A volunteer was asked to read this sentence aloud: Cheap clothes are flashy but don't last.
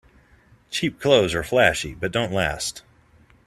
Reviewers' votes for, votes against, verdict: 2, 0, accepted